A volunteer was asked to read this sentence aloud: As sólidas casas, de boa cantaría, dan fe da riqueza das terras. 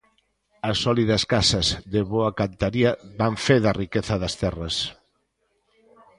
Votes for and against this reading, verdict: 2, 0, accepted